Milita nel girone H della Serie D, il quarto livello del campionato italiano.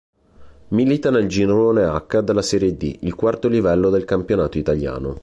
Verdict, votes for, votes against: accepted, 2, 0